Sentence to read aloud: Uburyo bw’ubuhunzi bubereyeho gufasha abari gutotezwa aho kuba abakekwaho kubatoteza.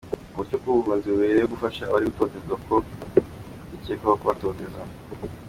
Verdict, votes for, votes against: accepted, 2, 1